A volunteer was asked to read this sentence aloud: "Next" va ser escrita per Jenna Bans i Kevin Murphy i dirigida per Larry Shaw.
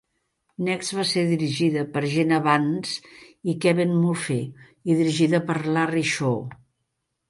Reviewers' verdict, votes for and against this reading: rejected, 0, 3